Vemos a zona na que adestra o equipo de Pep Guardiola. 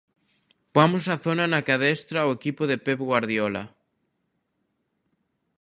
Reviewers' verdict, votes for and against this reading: rejected, 0, 2